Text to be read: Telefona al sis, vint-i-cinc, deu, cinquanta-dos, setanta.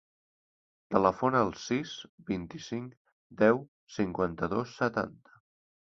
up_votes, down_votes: 3, 0